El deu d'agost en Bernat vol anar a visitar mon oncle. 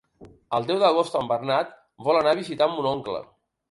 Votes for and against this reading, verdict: 3, 0, accepted